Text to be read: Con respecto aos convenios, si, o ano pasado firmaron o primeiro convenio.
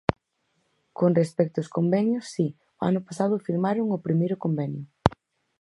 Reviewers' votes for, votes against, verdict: 6, 0, accepted